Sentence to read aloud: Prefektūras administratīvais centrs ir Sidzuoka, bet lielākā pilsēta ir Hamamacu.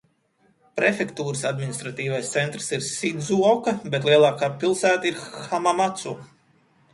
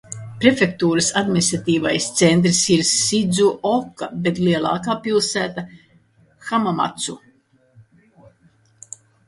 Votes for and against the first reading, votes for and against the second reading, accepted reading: 2, 0, 1, 2, first